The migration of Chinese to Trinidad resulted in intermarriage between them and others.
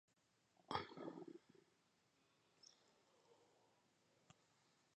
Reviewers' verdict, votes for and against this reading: rejected, 0, 2